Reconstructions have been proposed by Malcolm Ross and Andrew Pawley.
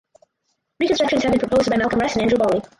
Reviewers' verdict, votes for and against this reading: rejected, 2, 4